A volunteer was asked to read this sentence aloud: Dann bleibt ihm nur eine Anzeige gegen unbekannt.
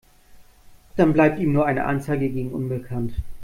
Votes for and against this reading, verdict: 2, 0, accepted